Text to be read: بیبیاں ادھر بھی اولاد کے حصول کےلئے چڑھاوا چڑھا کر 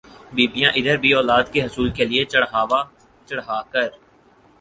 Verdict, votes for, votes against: accepted, 4, 0